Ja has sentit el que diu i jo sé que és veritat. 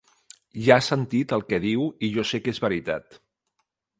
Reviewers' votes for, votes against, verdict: 2, 0, accepted